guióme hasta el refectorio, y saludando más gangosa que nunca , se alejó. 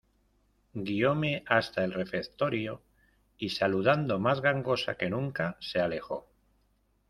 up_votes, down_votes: 1, 2